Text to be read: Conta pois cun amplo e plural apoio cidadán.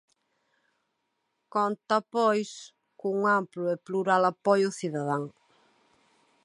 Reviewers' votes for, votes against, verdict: 3, 0, accepted